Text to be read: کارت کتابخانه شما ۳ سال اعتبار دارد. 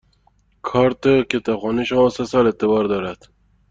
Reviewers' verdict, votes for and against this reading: rejected, 0, 2